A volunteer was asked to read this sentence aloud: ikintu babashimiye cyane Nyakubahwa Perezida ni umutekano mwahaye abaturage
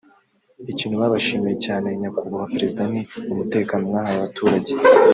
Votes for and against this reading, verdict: 1, 2, rejected